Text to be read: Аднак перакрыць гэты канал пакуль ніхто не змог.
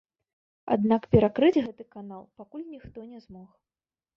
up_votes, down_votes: 1, 2